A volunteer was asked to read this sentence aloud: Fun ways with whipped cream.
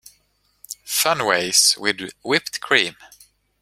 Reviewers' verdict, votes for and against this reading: rejected, 1, 2